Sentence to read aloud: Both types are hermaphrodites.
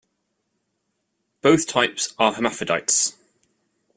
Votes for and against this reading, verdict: 2, 1, accepted